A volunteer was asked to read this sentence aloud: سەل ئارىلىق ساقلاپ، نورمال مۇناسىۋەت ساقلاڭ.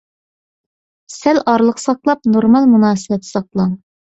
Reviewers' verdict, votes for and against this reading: accepted, 2, 0